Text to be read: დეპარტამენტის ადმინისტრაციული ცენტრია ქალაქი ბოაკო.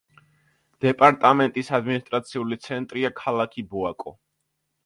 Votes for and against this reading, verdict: 2, 0, accepted